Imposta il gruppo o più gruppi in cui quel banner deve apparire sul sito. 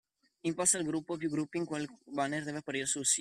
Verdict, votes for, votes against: rejected, 0, 2